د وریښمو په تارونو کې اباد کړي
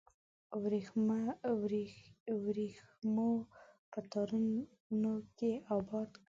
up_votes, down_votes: 0, 2